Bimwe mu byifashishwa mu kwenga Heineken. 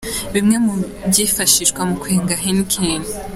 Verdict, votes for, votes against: accepted, 2, 1